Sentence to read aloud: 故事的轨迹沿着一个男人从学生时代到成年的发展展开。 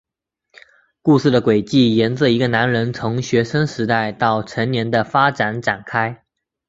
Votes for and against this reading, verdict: 3, 0, accepted